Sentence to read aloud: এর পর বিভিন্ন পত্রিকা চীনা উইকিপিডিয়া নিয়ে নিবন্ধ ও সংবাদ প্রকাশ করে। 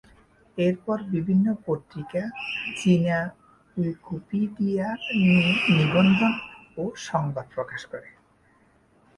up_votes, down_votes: 1, 2